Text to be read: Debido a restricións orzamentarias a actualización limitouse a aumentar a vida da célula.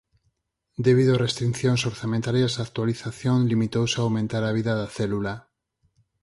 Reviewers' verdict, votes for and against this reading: rejected, 4, 6